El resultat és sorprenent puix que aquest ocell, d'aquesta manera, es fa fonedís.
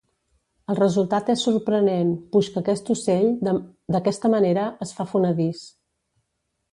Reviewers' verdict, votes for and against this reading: rejected, 1, 2